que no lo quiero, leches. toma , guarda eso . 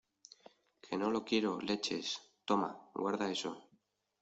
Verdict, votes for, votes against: accepted, 2, 0